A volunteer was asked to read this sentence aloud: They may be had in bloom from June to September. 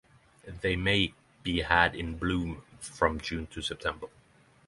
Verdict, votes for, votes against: accepted, 3, 0